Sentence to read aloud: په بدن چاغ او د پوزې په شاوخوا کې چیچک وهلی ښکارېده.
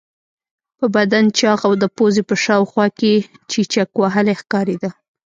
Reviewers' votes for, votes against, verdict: 0, 2, rejected